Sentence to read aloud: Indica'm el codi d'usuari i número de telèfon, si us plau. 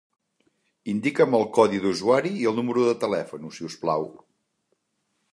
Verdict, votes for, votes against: rejected, 1, 2